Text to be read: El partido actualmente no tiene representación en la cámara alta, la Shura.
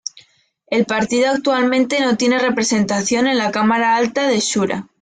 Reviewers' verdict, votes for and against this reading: accepted, 2, 0